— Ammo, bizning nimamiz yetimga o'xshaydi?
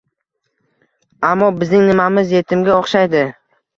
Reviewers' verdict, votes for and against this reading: accepted, 2, 0